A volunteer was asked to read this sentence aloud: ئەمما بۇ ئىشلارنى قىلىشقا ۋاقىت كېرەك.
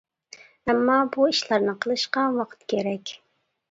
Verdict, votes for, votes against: accepted, 2, 0